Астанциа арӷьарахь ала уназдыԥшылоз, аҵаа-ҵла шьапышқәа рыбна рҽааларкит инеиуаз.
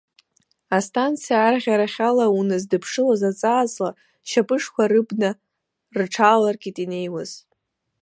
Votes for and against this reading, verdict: 0, 2, rejected